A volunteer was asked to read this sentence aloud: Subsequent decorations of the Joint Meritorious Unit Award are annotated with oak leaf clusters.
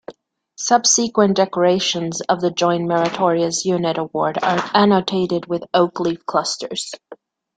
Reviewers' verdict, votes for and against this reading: accepted, 2, 0